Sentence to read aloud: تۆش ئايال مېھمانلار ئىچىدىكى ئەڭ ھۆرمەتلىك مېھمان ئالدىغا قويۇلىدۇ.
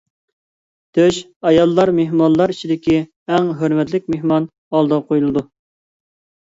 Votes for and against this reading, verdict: 0, 2, rejected